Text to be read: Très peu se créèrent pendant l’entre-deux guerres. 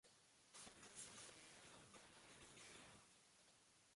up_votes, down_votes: 0, 2